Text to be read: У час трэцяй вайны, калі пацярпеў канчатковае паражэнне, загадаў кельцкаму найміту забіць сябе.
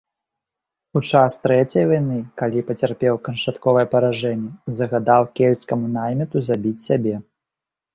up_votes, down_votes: 3, 0